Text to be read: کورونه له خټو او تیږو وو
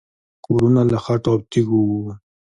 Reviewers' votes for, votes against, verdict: 2, 0, accepted